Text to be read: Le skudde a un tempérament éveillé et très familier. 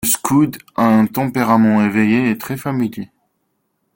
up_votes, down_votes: 0, 2